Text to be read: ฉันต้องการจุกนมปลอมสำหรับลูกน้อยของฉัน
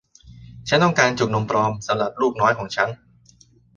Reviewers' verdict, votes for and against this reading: accepted, 2, 0